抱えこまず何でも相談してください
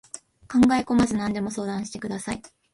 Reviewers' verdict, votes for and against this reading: rejected, 0, 2